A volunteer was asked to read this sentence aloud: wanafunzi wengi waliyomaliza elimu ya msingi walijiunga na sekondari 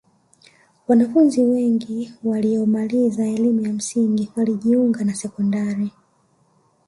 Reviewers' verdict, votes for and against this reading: rejected, 0, 2